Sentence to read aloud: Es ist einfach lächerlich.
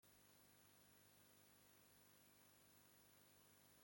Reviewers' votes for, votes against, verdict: 0, 2, rejected